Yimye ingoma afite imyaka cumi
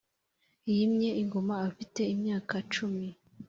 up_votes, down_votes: 3, 0